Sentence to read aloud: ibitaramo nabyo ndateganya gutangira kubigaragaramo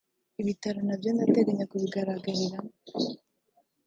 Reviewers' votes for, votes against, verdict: 1, 2, rejected